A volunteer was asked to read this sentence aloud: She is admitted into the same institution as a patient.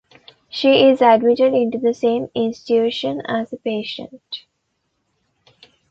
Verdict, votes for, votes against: rejected, 1, 2